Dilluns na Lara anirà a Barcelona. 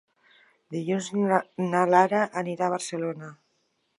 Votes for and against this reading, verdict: 1, 2, rejected